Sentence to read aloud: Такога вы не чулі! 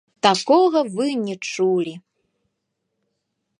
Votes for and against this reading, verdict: 0, 2, rejected